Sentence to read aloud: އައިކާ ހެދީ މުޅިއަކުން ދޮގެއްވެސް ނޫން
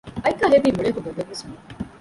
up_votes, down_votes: 1, 2